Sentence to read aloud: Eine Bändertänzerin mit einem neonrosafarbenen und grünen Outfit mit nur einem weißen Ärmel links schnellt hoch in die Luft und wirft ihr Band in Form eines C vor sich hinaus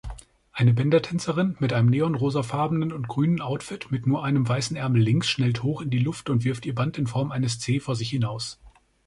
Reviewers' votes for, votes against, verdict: 2, 0, accepted